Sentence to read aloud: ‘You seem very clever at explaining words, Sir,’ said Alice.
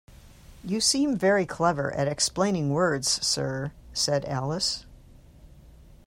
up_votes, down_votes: 2, 0